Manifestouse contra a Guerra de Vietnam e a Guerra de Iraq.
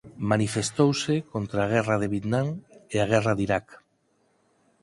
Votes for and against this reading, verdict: 4, 2, accepted